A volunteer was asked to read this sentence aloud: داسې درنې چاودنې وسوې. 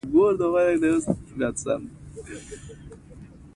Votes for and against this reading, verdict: 2, 0, accepted